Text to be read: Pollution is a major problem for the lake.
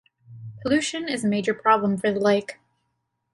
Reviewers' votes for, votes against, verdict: 2, 0, accepted